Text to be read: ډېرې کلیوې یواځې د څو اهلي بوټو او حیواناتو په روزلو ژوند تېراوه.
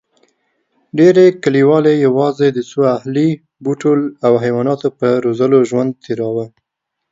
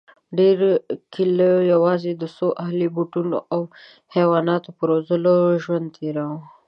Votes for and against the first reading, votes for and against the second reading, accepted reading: 2, 0, 0, 2, first